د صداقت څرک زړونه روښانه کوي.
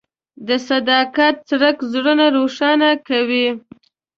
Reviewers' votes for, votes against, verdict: 2, 0, accepted